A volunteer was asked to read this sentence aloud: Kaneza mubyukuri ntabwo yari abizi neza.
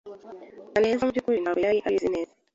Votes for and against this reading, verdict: 1, 2, rejected